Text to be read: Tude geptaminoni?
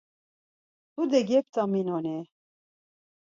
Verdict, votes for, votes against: accepted, 4, 0